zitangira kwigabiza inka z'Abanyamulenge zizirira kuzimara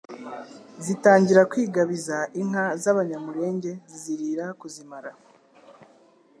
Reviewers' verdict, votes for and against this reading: accepted, 2, 0